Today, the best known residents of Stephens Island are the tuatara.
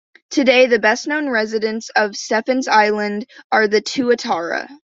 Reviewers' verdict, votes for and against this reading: accepted, 2, 0